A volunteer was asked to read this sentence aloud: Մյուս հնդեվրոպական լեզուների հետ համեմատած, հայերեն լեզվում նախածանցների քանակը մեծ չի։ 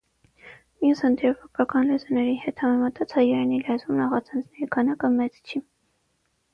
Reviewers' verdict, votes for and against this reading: accepted, 6, 3